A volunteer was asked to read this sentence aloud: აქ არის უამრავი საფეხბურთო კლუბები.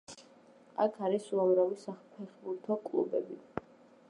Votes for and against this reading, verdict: 3, 0, accepted